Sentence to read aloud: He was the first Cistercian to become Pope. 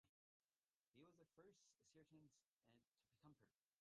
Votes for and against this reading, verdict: 0, 2, rejected